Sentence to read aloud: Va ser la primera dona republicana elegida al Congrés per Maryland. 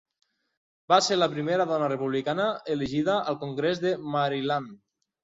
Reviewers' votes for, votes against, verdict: 1, 3, rejected